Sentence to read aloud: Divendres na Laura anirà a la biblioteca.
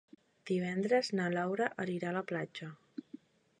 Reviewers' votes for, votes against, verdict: 0, 2, rejected